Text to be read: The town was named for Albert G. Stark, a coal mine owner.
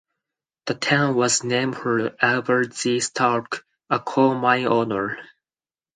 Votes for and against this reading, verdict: 4, 0, accepted